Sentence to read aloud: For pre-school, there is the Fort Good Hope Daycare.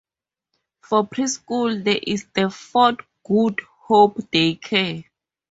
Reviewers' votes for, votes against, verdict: 2, 0, accepted